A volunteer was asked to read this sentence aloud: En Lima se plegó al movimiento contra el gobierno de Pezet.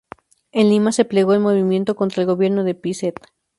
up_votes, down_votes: 2, 0